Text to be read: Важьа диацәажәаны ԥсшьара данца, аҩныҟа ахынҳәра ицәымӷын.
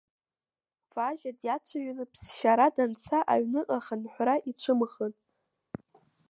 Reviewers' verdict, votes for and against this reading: rejected, 1, 2